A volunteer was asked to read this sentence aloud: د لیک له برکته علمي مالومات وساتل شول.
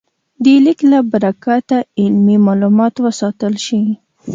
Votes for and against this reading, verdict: 2, 0, accepted